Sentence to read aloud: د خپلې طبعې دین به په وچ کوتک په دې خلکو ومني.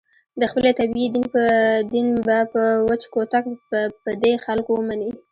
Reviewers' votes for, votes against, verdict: 1, 2, rejected